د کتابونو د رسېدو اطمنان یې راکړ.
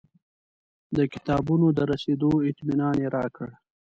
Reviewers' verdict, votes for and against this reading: accepted, 2, 0